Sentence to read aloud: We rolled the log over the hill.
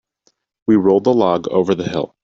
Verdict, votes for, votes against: accepted, 2, 0